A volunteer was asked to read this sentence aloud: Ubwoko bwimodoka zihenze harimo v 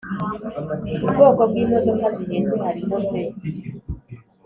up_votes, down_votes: 3, 0